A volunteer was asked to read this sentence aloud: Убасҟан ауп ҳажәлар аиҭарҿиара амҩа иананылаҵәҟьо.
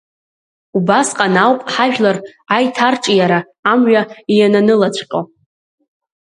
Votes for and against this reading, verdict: 2, 0, accepted